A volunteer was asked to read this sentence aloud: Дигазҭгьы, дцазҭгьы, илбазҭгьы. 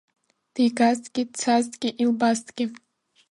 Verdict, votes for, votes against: accepted, 2, 0